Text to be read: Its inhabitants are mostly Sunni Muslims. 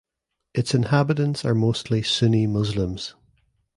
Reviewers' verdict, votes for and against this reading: accepted, 2, 0